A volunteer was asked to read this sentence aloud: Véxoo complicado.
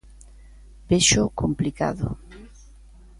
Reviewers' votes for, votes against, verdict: 2, 0, accepted